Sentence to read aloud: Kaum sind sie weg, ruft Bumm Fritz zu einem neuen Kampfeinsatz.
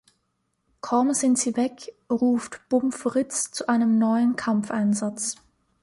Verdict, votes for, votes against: accepted, 2, 0